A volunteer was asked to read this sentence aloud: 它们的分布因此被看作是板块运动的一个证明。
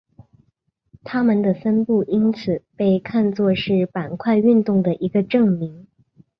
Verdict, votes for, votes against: accepted, 3, 0